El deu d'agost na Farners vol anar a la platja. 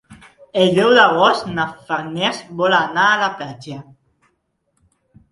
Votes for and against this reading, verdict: 3, 0, accepted